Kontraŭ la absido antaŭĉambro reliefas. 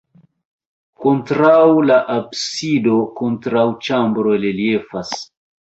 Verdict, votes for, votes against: rejected, 1, 2